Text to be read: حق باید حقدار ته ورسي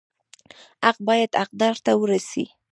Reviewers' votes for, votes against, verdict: 2, 0, accepted